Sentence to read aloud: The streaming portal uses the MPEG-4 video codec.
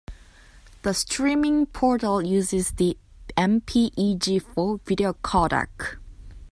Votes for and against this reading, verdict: 0, 2, rejected